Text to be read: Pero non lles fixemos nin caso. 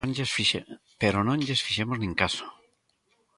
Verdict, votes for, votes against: rejected, 0, 2